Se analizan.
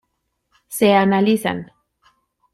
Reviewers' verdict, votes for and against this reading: accepted, 2, 0